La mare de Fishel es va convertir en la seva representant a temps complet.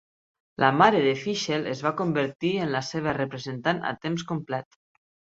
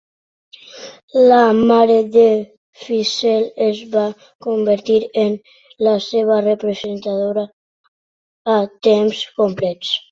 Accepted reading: first